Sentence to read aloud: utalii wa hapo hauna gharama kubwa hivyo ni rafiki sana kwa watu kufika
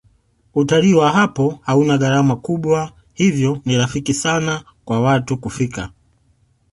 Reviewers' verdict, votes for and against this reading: accepted, 2, 0